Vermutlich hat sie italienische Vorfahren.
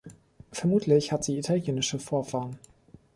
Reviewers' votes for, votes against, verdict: 2, 0, accepted